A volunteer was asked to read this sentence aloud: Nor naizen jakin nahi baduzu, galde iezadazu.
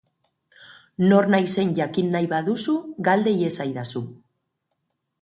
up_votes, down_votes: 0, 2